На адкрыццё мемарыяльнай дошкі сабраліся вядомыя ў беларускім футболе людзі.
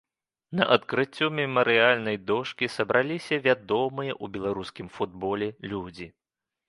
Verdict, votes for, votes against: accepted, 3, 0